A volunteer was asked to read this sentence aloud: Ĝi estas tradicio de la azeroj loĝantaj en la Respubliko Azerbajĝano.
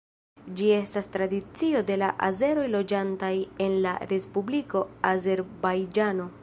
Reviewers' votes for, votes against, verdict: 2, 0, accepted